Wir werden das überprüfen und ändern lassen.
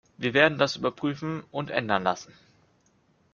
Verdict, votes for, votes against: accepted, 2, 0